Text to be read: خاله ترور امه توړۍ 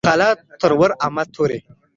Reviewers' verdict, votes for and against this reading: accepted, 2, 0